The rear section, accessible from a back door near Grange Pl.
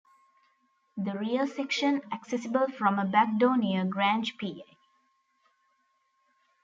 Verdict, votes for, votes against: rejected, 1, 3